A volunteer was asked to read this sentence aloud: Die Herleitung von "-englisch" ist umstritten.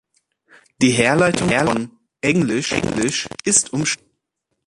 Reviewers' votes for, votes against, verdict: 0, 2, rejected